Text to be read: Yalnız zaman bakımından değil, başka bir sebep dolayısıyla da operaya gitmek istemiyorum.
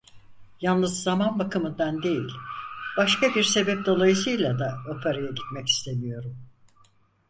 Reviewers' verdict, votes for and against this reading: accepted, 4, 0